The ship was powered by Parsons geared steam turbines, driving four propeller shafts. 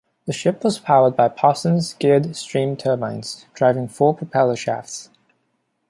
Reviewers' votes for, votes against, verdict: 0, 2, rejected